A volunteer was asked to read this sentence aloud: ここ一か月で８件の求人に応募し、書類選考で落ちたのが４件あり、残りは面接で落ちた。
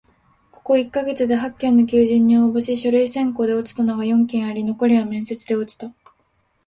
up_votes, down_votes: 0, 2